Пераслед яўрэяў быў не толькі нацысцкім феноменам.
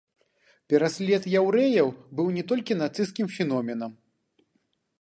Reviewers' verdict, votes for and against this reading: accepted, 2, 1